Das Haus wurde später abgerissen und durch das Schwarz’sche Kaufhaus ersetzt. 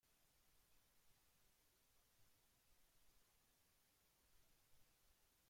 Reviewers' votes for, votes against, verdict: 0, 2, rejected